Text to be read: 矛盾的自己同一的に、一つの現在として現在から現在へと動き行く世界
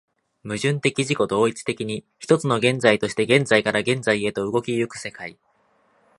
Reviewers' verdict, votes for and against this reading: accepted, 2, 0